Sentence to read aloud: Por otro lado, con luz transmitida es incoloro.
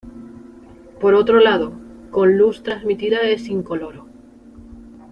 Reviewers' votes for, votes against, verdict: 2, 0, accepted